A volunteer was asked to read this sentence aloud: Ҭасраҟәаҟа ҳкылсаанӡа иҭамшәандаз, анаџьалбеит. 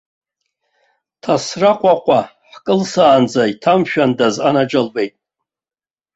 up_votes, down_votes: 2, 0